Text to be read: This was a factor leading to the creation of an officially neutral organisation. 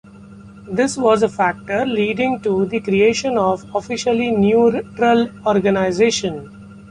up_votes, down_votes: 0, 2